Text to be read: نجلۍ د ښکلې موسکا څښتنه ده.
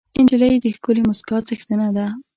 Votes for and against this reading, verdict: 1, 2, rejected